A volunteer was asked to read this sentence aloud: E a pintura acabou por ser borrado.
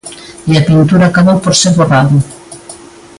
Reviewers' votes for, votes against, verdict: 2, 0, accepted